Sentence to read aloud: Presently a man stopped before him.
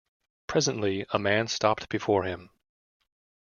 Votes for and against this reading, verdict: 2, 0, accepted